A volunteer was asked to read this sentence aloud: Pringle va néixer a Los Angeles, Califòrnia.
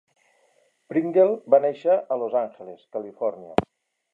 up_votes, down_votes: 0, 2